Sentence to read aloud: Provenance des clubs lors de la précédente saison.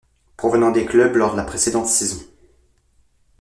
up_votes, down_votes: 1, 2